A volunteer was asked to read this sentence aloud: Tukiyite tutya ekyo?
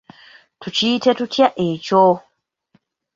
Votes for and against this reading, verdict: 1, 2, rejected